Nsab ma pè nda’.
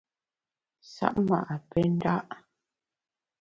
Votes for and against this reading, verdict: 0, 2, rejected